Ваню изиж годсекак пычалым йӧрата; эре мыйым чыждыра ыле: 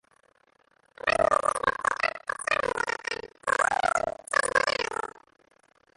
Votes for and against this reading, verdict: 0, 2, rejected